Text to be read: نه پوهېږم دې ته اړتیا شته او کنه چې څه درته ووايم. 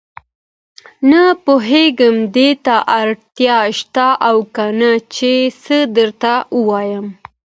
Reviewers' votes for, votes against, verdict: 1, 2, rejected